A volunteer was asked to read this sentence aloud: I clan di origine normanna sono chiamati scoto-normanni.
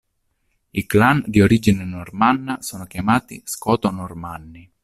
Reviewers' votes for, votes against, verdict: 2, 0, accepted